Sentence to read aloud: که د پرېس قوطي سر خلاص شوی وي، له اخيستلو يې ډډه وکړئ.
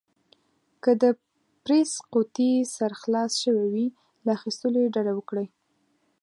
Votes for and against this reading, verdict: 2, 0, accepted